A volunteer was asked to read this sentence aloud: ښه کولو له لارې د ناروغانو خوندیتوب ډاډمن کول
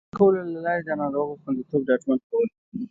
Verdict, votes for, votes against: rejected, 1, 2